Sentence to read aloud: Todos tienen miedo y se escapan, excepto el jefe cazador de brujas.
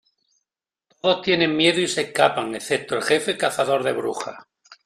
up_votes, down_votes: 0, 2